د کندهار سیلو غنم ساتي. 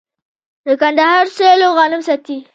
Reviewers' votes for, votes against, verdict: 0, 2, rejected